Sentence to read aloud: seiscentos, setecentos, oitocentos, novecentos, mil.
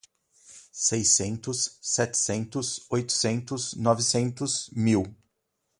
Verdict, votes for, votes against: rejected, 0, 2